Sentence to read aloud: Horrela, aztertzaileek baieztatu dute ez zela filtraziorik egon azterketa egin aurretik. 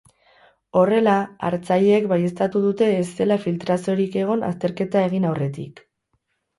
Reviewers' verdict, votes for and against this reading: rejected, 2, 2